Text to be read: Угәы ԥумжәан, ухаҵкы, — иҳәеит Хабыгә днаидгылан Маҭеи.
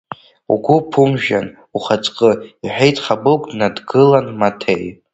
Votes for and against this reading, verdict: 1, 2, rejected